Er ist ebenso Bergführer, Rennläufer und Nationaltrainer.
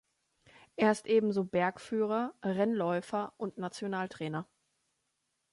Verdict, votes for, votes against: accepted, 2, 0